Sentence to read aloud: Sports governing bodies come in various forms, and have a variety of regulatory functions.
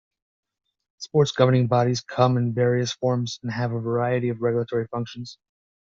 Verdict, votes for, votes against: accepted, 2, 0